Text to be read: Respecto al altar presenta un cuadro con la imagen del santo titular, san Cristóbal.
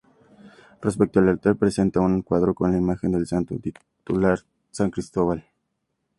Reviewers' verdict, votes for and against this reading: accepted, 2, 0